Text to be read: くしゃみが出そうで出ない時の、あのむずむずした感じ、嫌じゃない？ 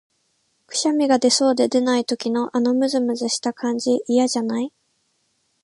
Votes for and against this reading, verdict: 0, 2, rejected